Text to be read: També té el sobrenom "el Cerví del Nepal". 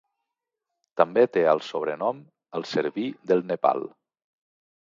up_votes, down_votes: 2, 0